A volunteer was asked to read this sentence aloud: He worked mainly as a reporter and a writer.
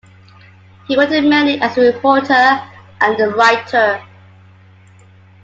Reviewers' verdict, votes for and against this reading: accepted, 2, 0